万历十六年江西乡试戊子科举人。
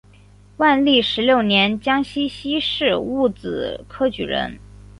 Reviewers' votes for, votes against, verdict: 2, 1, accepted